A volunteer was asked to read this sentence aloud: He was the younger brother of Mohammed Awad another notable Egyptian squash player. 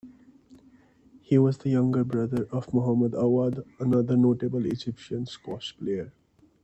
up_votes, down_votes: 2, 0